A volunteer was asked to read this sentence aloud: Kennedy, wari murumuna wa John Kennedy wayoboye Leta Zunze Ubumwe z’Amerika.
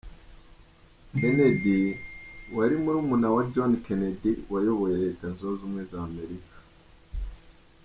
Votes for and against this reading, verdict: 2, 0, accepted